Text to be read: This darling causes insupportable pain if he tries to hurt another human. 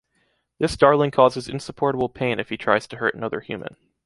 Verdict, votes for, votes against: rejected, 1, 2